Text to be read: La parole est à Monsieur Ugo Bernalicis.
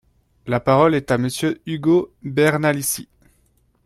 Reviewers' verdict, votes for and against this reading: accepted, 2, 1